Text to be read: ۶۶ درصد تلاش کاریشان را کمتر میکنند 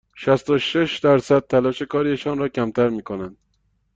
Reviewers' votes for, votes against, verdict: 0, 2, rejected